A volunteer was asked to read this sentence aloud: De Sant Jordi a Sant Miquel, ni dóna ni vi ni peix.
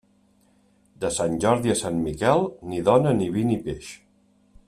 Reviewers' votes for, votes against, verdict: 3, 0, accepted